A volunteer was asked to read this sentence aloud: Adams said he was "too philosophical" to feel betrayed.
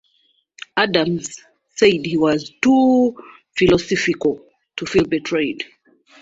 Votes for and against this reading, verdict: 1, 2, rejected